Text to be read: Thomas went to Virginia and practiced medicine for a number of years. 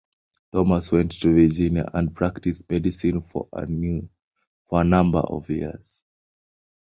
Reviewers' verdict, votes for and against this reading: accepted, 2, 1